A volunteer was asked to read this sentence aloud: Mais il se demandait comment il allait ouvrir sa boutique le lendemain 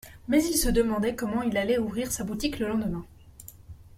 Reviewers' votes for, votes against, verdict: 2, 0, accepted